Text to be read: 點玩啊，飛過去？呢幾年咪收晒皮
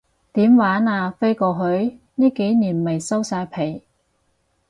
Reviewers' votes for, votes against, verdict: 4, 0, accepted